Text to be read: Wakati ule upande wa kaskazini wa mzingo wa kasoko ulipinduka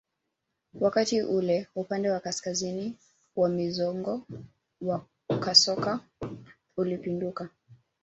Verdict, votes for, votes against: accepted, 2, 1